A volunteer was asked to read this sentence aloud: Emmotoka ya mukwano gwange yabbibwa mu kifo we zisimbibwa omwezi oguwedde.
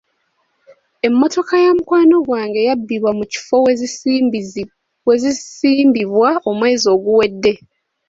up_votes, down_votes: 0, 3